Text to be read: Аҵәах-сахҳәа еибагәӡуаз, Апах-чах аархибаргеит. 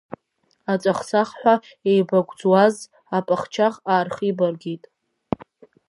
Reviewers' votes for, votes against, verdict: 1, 2, rejected